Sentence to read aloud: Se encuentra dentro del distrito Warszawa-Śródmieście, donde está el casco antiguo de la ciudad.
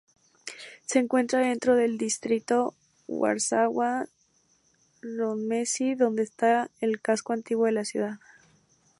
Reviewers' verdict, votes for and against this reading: rejected, 2, 2